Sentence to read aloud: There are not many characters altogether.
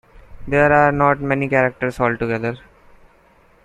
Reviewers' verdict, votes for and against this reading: accepted, 2, 0